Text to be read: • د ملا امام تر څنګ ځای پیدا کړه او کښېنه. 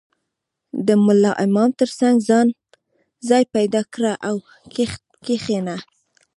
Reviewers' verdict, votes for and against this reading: rejected, 1, 2